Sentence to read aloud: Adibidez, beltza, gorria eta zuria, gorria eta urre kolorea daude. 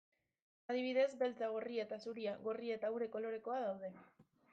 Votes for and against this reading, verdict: 0, 2, rejected